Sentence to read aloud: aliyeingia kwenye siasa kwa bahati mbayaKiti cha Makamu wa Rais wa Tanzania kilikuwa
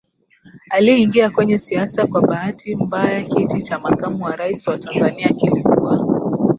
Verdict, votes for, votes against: rejected, 0, 2